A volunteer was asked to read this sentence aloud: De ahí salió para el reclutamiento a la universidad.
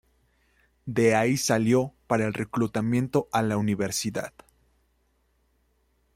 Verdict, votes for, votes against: accepted, 2, 0